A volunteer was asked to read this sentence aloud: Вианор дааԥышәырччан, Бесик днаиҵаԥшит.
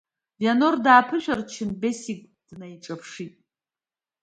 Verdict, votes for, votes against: accepted, 2, 0